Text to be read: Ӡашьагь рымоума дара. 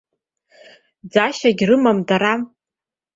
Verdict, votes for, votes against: rejected, 1, 2